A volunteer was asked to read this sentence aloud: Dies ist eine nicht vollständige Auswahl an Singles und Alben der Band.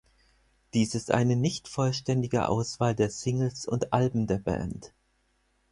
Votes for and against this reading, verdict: 2, 4, rejected